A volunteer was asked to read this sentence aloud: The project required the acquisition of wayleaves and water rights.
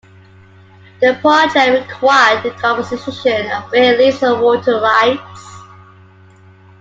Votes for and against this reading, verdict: 0, 2, rejected